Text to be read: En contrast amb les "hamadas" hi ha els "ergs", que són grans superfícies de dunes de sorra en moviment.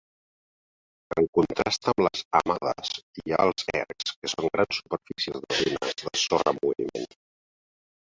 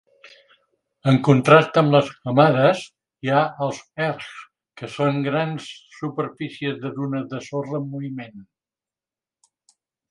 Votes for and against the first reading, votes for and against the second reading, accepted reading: 0, 2, 3, 0, second